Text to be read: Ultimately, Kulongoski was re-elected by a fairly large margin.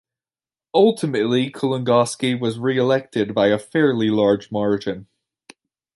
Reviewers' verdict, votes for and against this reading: accepted, 2, 0